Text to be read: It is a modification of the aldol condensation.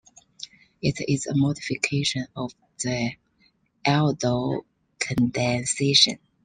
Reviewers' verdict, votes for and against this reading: accepted, 2, 0